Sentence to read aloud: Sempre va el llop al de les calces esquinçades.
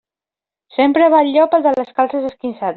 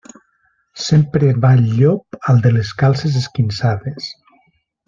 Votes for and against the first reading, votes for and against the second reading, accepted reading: 0, 2, 2, 0, second